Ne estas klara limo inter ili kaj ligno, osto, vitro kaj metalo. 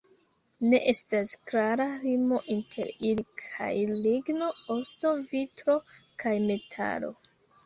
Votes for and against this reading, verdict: 2, 1, accepted